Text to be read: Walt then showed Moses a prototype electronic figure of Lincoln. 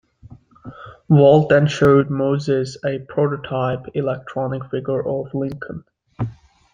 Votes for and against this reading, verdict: 2, 0, accepted